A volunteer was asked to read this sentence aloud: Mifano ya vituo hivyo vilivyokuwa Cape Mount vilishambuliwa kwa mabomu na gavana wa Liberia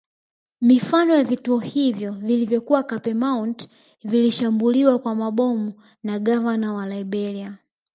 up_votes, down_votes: 1, 2